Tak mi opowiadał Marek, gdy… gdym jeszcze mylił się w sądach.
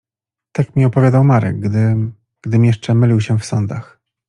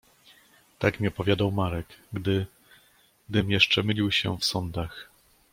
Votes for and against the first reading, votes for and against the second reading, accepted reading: 1, 2, 2, 0, second